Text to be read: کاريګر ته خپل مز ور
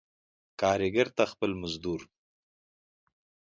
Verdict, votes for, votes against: accepted, 2, 0